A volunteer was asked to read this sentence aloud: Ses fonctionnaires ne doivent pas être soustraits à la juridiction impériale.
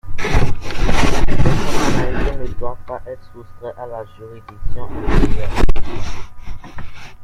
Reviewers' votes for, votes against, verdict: 0, 2, rejected